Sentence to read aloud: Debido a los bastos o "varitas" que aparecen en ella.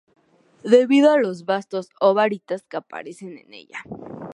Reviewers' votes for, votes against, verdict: 2, 0, accepted